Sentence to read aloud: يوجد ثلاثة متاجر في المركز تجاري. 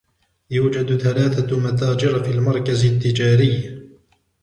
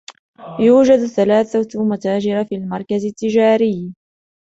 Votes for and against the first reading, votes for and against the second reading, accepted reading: 1, 2, 2, 0, second